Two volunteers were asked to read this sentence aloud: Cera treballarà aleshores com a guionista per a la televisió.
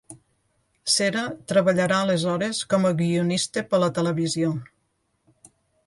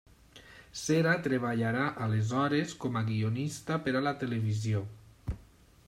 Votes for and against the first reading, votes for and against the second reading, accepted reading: 1, 2, 2, 0, second